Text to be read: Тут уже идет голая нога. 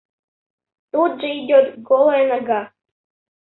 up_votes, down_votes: 1, 2